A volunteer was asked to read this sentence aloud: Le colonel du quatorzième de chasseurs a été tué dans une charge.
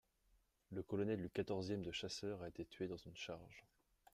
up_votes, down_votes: 2, 0